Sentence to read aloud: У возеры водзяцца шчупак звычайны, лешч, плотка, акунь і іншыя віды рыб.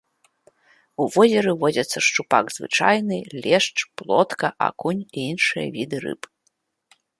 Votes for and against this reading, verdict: 2, 0, accepted